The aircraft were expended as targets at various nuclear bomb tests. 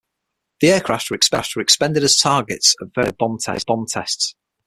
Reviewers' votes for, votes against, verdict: 3, 6, rejected